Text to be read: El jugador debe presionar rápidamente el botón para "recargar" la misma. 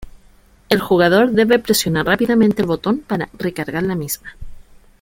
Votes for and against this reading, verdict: 2, 1, accepted